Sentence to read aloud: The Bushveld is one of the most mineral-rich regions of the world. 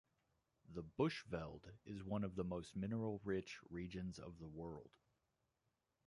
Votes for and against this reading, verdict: 1, 2, rejected